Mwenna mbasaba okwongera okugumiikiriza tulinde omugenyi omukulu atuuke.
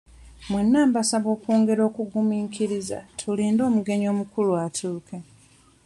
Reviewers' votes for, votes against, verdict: 1, 2, rejected